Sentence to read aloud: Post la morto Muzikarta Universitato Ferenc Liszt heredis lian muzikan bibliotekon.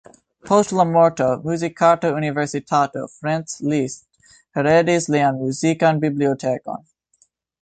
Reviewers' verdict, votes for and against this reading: accepted, 3, 1